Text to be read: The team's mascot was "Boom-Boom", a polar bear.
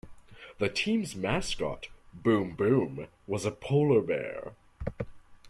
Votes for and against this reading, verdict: 0, 2, rejected